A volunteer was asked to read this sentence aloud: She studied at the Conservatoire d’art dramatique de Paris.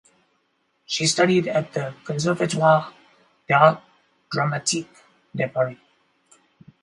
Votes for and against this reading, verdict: 2, 2, rejected